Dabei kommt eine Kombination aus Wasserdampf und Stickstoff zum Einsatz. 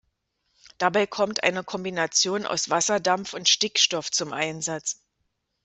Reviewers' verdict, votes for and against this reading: accepted, 2, 0